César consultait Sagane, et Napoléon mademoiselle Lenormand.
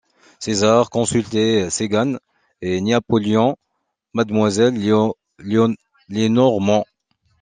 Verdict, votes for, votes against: rejected, 0, 2